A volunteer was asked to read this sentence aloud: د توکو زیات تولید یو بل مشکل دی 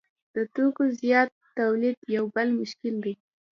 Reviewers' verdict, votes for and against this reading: accepted, 2, 0